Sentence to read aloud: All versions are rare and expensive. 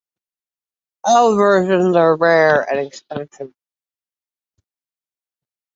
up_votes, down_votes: 2, 1